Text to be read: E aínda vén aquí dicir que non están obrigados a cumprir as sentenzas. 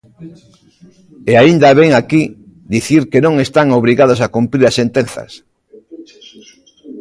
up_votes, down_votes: 1, 2